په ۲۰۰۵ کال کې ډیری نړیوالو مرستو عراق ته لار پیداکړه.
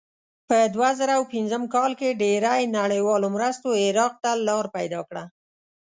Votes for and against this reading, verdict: 0, 2, rejected